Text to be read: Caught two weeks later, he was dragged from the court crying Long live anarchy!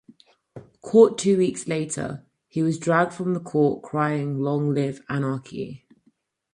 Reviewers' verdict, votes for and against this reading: accepted, 4, 2